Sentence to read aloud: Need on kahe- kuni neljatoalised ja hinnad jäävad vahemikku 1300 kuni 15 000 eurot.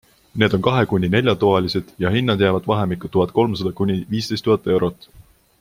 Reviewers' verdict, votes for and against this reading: rejected, 0, 2